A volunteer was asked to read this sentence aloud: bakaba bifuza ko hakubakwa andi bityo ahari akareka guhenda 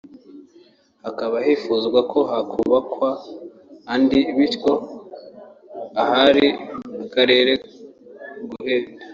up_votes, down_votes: 0, 2